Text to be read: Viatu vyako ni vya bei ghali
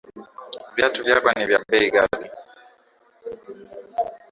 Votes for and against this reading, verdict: 2, 0, accepted